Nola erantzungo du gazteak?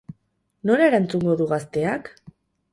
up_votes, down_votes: 0, 2